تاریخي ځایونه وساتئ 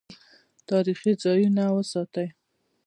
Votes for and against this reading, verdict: 2, 0, accepted